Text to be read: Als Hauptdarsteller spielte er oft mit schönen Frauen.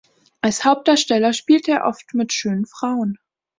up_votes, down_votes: 2, 0